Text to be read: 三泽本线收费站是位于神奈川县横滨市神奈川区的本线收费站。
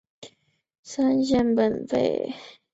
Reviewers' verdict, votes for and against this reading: rejected, 1, 5